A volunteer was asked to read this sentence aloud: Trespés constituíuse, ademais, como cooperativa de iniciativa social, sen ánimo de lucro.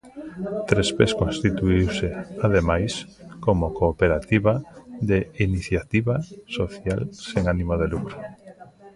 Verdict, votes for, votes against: rejected, 0, 2